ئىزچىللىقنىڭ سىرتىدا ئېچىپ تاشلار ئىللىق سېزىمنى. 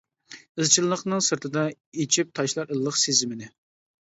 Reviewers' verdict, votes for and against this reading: accepted, 2, 0